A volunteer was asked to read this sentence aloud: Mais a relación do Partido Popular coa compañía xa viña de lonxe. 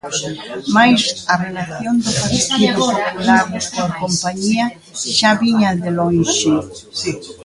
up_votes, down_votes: 1, 2